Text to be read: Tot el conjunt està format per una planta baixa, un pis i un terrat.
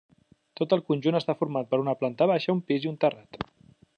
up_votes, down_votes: 3, 0